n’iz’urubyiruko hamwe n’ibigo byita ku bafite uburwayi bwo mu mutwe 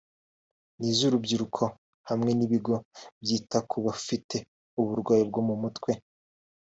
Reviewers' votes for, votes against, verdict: 2, 0, accepted